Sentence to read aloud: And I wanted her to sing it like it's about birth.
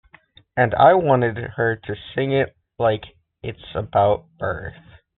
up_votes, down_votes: 2, 0